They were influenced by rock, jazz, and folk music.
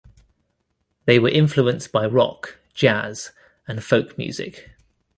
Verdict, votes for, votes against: rejected, 1, 2